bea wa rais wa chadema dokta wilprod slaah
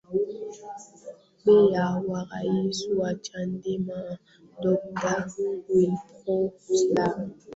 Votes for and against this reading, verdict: 0, 3, rejected